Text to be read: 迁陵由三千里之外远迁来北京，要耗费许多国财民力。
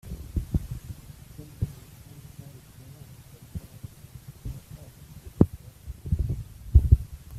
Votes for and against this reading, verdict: 0, 2, rejected